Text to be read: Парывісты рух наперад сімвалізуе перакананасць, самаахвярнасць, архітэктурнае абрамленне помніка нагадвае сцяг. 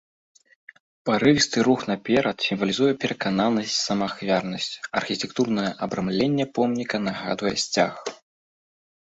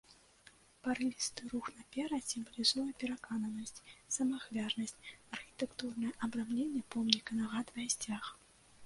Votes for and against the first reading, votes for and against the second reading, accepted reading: 2, 0, 1, 2, first